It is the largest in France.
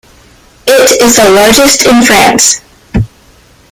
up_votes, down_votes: 1, 2